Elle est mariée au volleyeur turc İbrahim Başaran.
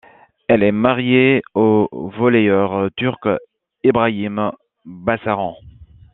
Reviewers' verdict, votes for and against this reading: rejected, 1, 2